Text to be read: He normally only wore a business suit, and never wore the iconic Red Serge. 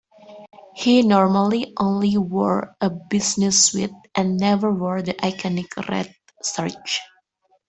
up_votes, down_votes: 1, 2